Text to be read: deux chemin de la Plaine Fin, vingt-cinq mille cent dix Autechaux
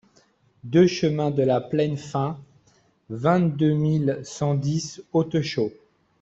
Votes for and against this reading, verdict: 1, 2, rejected